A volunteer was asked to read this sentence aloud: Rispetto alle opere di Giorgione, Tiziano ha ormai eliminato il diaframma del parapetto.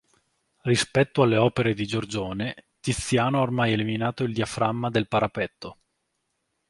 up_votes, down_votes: 2, 0